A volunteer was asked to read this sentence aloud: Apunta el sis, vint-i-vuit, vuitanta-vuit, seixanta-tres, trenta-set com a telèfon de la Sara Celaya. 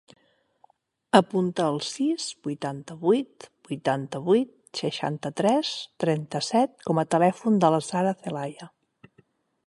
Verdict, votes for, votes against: rejected, 3, 6